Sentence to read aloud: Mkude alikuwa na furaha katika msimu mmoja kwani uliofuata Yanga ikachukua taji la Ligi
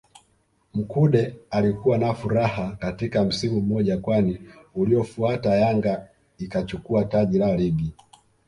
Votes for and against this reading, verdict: 2, 0, accepted